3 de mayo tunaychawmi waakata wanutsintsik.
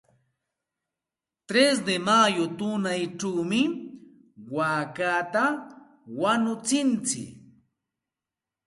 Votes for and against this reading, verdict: 0, 2, rejected